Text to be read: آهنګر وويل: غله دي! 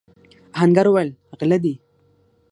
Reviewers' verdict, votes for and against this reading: accepted, 6, 0